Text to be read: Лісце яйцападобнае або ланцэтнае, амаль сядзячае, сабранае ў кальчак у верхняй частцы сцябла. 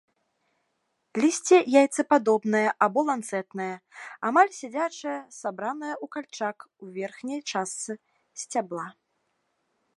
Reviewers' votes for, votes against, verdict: 2, 0, accepted